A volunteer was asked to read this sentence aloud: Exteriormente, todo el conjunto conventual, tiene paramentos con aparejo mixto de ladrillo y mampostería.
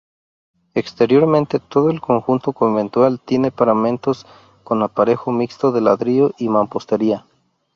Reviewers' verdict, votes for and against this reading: accepted, 2, 0